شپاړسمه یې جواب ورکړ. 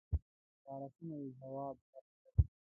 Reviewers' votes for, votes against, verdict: 1, 2, rejected